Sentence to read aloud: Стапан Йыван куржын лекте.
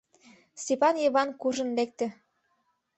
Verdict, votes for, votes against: rejected, 1, 2